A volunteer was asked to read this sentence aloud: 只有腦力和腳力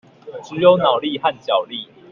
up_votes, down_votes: 1, 2